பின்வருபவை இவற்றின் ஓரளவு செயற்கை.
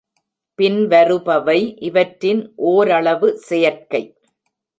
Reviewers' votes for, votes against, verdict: 2, 0, accepted